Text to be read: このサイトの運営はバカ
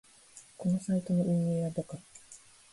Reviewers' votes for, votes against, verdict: 2, 0, accepted